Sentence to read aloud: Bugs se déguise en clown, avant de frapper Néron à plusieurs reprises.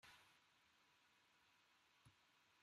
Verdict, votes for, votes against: rejected, 1, 2